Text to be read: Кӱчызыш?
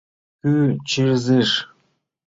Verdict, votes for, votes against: rejected, 1, 2